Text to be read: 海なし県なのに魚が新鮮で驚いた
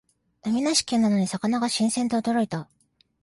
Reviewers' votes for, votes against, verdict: 2, 0, accepted